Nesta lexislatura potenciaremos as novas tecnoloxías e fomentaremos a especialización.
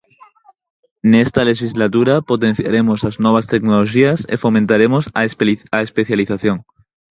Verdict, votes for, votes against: rejected, 0, 4